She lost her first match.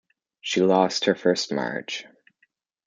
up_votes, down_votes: 2, 0